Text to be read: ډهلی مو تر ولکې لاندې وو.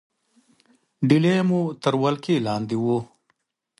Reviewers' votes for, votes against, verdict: 2, 0, accepted